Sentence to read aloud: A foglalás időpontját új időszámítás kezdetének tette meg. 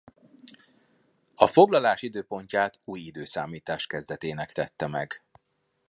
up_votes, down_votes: 2, 0